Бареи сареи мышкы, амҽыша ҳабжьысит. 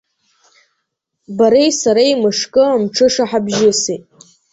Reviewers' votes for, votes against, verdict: 1, 2, rejected